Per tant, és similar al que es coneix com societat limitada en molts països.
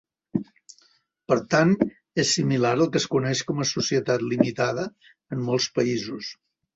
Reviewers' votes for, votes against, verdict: 1, 3, rejected